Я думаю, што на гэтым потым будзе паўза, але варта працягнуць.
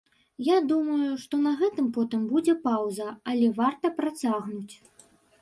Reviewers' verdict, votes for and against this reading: rejected, 0, 2